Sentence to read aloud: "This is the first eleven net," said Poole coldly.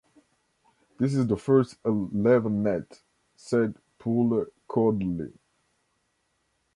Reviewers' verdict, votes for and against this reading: rejected, 1, 2